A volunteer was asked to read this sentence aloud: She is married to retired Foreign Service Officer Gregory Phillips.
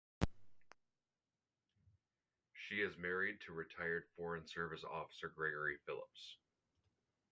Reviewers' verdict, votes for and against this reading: rejected, 0, 4